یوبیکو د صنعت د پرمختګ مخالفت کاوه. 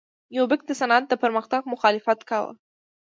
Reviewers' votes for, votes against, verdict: 2, 0, accepted